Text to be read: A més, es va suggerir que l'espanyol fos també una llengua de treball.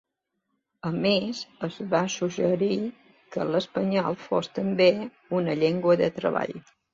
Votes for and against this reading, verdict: 3, 0, accepted